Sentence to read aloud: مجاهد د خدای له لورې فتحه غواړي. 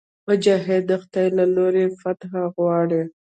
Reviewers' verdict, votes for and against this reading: rejected, 0, 2